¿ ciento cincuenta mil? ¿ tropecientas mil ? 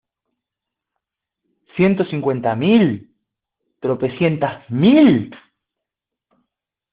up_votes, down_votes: 1, 2